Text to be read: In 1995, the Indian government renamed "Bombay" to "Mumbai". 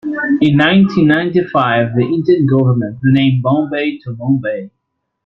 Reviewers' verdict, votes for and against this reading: rejected, 0, 2